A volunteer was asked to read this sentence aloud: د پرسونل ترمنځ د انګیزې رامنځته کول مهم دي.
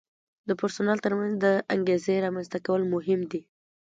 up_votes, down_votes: 2, 0